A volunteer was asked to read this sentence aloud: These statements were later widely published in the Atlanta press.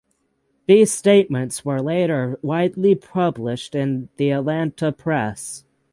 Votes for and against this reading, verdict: 6, 0, accepted